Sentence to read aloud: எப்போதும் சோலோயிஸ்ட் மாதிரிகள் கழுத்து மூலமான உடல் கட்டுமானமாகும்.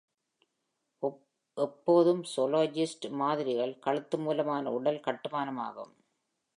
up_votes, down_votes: 2, 0